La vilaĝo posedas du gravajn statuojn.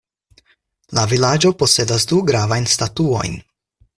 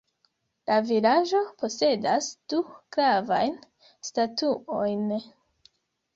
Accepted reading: first